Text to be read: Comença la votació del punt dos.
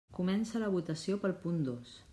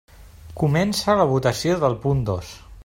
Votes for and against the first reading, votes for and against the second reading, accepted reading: 0, 2, 3, 0, second